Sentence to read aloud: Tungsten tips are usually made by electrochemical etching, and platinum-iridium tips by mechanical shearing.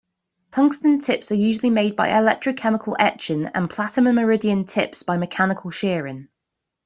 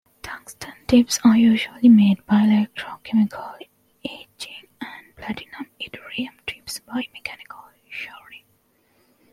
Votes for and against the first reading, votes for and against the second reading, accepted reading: 2, 0, 1, 2, first